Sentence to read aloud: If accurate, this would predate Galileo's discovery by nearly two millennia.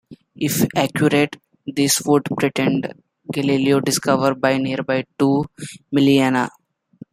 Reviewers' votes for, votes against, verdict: 0, 2, rejected